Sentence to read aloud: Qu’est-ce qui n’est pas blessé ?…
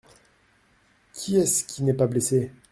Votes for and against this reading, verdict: 0, 2, rejected